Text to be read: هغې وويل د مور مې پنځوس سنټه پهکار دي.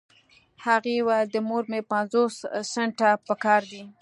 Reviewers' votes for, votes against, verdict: 2, 0, accepted